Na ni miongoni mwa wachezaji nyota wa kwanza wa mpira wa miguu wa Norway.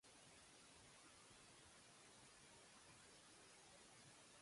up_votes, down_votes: 0, 2